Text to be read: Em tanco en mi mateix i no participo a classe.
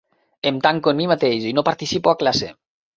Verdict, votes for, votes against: accepted, 3, 0